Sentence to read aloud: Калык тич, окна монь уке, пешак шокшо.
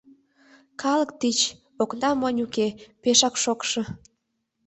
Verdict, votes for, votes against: accepted, 2, 0